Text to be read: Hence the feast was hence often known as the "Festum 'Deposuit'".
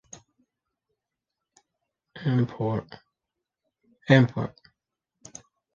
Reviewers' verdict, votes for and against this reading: rejected, 0, 2